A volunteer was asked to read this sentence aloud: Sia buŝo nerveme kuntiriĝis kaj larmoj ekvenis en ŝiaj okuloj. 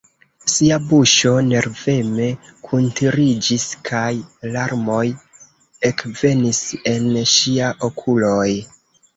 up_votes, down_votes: 0, 2